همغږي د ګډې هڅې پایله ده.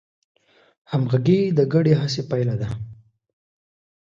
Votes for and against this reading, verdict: 2, 0, accepted